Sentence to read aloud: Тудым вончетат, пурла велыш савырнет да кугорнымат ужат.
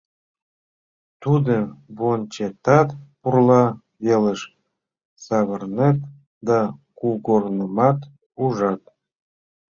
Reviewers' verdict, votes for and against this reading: accepted, 2, 0